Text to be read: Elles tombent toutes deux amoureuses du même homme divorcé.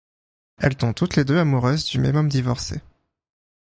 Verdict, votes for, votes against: rejected, 0, 2